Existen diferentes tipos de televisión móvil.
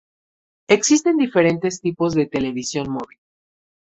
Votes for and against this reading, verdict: 2, 0, accepted